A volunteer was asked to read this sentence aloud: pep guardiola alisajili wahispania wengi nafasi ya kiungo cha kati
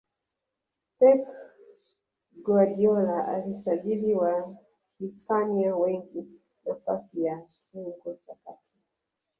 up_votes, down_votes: 0, 2